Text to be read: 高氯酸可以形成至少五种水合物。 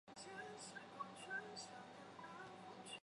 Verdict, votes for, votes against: rejected, 0, 2